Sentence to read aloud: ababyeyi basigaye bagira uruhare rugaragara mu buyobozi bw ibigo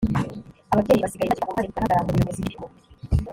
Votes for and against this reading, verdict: 1, 2, rejected